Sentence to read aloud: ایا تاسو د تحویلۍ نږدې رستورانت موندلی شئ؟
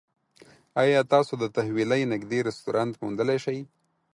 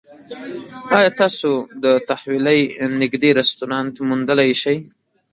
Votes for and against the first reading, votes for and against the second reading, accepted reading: 4, 0, 1, 2, first